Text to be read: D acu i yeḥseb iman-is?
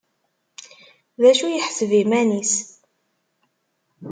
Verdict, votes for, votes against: accepted, 2, 0